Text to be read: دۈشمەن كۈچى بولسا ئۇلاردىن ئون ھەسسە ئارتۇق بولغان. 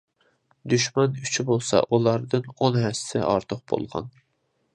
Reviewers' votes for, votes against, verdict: 3, 0, accepted